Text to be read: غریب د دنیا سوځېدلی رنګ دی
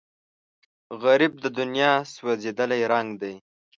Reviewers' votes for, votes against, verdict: 3, 0, accepted